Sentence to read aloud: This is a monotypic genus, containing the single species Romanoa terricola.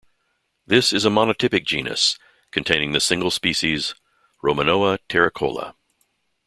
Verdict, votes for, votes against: accepted, 2, 0